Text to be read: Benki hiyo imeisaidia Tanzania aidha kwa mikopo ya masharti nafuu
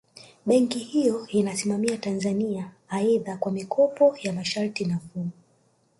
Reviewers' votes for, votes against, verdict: 1, 3, rejected